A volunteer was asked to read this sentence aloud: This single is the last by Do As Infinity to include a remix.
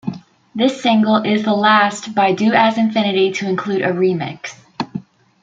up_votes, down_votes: 1, 2